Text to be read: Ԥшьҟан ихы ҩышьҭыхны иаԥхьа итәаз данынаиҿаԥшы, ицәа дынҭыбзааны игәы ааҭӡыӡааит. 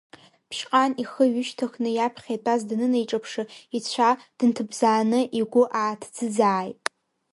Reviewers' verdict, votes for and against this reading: rejected, 1, 2